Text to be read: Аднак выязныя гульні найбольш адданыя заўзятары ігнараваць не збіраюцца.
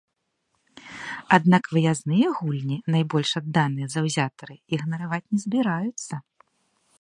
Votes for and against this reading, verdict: 2, 0, accepted